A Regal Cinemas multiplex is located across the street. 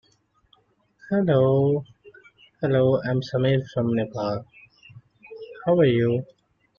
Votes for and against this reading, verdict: 0, 3, rejected